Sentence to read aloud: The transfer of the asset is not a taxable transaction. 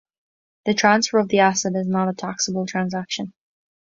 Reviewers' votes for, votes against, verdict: 2, 0, accepted